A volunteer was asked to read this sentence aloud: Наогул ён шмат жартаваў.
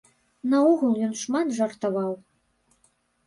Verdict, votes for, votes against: accepted, 2, 0